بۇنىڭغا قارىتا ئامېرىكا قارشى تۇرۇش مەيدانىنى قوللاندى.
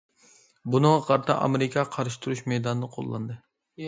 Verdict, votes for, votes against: accepted, 2, 0